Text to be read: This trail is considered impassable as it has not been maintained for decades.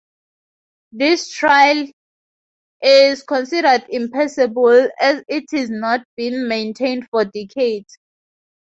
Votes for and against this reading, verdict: 0, 4, rejected